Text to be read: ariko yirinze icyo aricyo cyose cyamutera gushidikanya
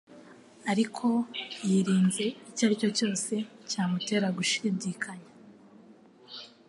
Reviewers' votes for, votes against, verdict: 2, 0, accepted